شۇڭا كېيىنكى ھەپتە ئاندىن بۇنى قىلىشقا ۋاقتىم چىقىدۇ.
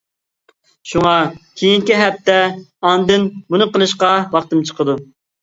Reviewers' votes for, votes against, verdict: 2, 1, accepted